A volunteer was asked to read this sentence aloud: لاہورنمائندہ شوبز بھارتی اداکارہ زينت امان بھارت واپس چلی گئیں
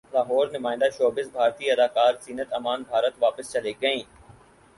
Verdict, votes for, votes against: accepted, 4, 0